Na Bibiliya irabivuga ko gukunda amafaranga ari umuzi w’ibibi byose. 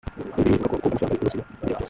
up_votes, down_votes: 0, 2